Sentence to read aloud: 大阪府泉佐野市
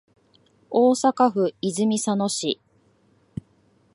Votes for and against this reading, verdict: 2, 1, accepted